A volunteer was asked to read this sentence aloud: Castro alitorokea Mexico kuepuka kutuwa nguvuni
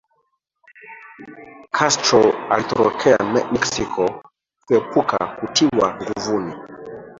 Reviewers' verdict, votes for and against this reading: rejected, 0, 2